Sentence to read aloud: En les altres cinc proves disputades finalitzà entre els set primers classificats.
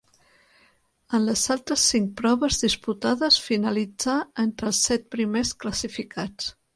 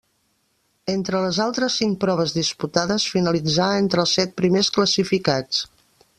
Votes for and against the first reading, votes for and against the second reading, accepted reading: 3, 0, 0, 2, first